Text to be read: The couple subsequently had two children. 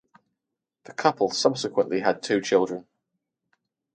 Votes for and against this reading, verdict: 2, 0, accepted